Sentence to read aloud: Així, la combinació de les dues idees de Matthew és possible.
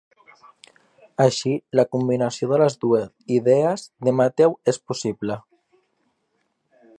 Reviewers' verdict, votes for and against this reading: rejected, 0, 2